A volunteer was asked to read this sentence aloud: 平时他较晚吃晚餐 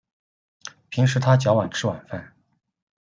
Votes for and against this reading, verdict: 0, 2, rejected